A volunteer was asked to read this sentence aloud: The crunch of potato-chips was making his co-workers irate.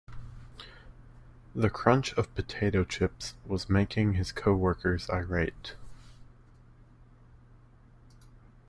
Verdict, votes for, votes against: accepted, 2, 0